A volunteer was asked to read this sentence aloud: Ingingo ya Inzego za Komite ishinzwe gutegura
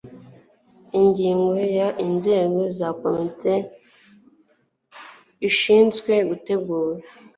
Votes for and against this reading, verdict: 1, 2, rejected